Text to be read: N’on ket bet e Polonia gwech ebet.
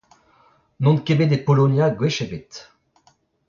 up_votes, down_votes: 0, 2